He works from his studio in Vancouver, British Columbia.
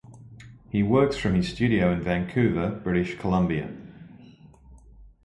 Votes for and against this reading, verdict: 2, 0, accepted